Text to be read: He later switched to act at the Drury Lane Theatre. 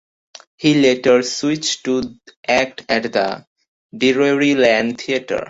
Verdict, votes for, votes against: accepted, 2, 0